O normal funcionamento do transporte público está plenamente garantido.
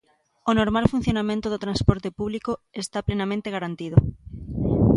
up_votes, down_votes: 2, 0